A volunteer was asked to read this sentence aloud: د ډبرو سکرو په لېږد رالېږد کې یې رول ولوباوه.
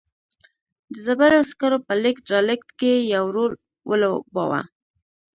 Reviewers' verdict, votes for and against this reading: rejected, 1, 2